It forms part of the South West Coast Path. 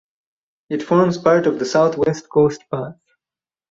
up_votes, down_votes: 2, 2